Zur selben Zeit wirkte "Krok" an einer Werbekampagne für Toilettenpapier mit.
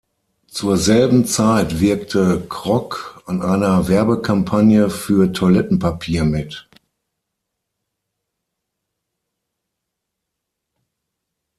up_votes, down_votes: 6, 0